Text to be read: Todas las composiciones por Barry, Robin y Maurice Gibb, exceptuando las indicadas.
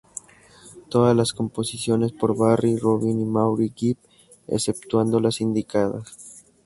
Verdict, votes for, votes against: accepted, 2, 0